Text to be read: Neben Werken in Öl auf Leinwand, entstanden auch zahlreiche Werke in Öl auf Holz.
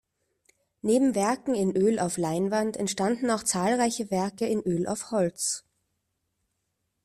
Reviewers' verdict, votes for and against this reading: accepted, 2, 0